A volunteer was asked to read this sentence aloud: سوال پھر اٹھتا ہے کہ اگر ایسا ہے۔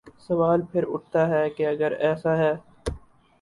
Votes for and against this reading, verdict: 2, 0, accepted